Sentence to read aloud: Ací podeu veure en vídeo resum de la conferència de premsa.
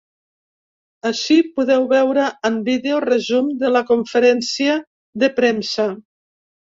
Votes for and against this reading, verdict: 2, 0, accepted